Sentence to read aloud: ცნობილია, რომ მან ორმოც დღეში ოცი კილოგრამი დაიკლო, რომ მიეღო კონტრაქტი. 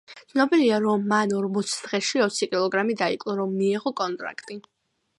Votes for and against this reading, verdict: 1, 2, rejected